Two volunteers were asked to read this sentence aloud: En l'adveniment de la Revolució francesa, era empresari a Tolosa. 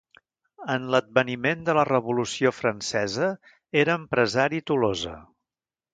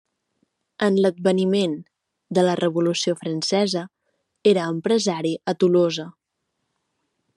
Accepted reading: second